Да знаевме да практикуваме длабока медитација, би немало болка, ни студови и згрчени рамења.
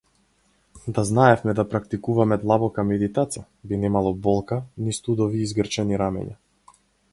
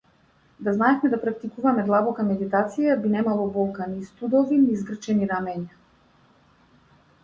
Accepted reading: first